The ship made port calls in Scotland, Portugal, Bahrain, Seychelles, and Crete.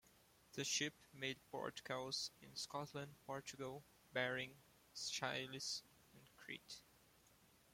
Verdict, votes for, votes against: rejected, 0, 2